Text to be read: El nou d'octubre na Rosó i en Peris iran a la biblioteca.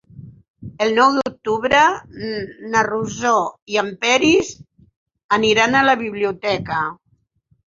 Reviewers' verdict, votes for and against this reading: rejected, 2, 4